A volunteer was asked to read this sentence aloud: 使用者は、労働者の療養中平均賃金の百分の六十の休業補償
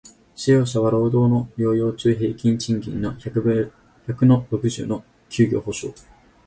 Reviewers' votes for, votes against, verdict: 0, 6, rejected